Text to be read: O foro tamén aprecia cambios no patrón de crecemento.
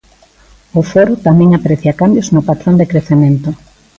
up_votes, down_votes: 2, 0